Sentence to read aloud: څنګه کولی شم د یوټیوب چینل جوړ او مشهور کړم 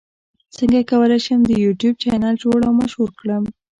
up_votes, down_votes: 0, 2